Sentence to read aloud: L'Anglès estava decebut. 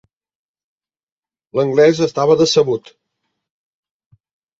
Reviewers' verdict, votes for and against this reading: accepted, 3, 0